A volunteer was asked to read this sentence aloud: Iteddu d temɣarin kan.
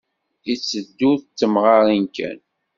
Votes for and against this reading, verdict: 2, 0, accepted